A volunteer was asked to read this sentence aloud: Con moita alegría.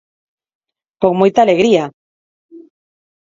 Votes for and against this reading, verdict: 4, 0, accepted